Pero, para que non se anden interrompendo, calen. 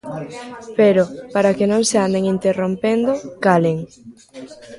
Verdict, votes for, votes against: rejected, 0, 2